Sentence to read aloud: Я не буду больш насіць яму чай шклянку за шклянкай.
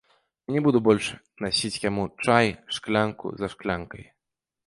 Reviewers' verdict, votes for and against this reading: rejected, 1, 2